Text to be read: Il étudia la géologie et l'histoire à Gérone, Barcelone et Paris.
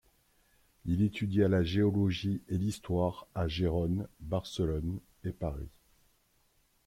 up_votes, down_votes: 1, 2